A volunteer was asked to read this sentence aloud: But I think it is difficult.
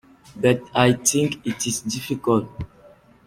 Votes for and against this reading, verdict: 2, 0, accepted